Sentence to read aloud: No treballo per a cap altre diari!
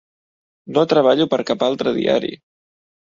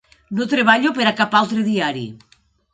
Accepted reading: second